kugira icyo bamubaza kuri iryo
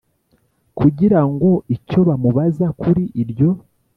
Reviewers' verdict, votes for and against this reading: rejected, 1, 2